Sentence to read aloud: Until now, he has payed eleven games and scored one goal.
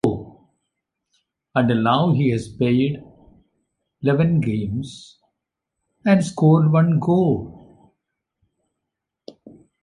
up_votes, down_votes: 1, 2